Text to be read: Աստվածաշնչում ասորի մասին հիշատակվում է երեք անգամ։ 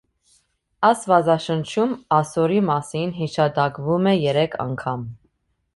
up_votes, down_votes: 2, 0